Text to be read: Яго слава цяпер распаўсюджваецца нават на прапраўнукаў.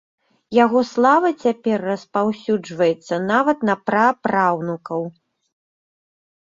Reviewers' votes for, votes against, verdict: 2, 0, accepted